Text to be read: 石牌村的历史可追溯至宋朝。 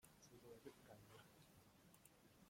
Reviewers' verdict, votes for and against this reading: rejected, 0, 2